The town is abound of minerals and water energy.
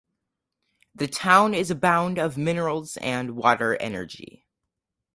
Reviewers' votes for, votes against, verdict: 4, 0, accepted